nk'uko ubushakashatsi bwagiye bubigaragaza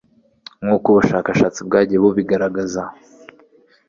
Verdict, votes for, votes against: accepted, 3, 0